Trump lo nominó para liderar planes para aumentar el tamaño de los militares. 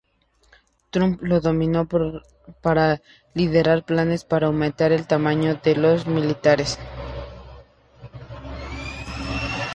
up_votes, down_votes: 0, 2